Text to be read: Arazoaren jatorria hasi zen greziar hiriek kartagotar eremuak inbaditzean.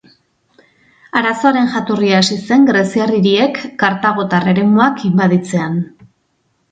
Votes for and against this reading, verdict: 2, 0, accepted